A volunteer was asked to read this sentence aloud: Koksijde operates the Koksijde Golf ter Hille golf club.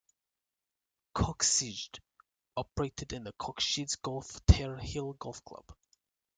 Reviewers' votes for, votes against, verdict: 0, 2, rejected